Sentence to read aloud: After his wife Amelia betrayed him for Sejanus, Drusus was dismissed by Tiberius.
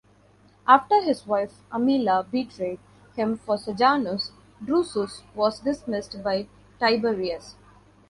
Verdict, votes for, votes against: accepted, 2, 1